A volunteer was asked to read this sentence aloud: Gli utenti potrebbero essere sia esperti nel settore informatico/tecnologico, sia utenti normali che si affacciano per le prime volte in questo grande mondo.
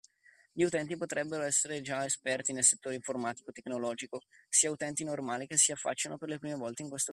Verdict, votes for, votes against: rejected, 0, 2